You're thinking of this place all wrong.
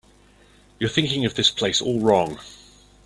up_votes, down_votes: 2, 0